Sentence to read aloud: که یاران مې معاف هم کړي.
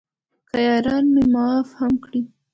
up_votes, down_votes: 2, 0